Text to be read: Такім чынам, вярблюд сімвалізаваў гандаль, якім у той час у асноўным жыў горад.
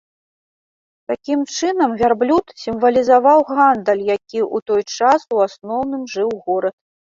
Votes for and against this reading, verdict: 1, 2, rejected